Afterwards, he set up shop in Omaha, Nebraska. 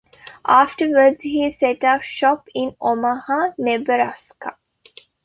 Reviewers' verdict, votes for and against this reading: accepted, 2, 1